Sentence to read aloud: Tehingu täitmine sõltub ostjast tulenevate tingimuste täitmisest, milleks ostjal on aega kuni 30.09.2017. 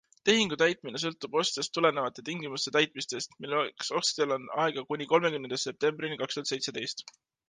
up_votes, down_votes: 0, 2